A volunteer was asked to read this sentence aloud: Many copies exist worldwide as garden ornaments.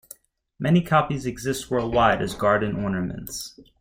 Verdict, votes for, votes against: accepted, 2, 0